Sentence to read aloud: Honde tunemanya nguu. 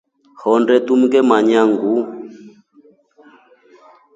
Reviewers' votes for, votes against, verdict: 2, 3, rejected